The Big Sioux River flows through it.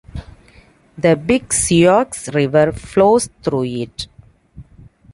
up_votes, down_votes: 2, 0